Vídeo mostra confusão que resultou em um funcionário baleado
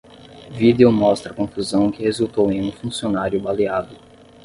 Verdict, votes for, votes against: rejected, 0, 5